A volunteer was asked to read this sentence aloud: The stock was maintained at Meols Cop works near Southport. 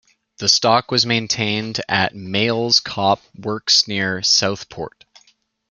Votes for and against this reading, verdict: 2, 0, accepted